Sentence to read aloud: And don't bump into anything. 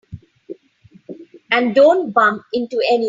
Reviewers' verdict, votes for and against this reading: rejected, 0, 2